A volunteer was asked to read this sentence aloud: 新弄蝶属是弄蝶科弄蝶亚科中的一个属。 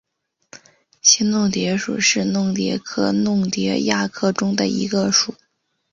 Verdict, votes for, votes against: accepted, 2, 1